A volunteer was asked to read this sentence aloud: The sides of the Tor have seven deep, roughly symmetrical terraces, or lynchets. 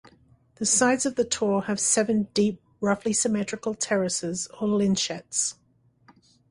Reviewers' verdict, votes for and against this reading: accepted, 2, 0